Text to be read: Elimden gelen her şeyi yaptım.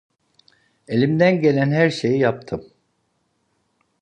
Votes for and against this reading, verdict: 2, 0, accepted